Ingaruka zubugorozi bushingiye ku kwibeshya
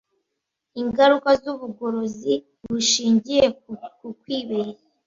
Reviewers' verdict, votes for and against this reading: rejected, 1, 2